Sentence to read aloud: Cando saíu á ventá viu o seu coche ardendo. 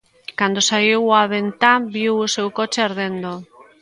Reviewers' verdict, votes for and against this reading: accepted, 2, 0